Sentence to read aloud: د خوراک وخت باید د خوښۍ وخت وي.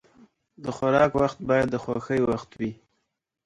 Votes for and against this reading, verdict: 0, 2, rejected